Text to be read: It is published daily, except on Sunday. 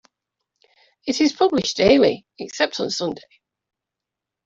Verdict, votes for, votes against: accepted, 2, 1